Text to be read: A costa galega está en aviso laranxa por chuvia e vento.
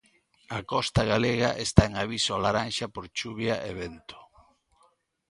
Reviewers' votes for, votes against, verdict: 2, 0, accepted